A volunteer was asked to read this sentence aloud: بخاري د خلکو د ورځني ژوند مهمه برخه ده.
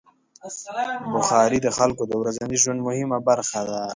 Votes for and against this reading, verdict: 2, 0, accepted